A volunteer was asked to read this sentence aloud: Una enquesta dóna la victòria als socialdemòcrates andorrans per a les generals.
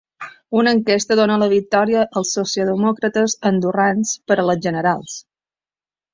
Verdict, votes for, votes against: accepted, 2, 1